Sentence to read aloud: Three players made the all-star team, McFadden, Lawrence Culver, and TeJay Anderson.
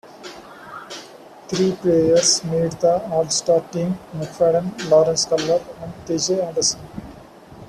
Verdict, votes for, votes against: accepted, 2, 1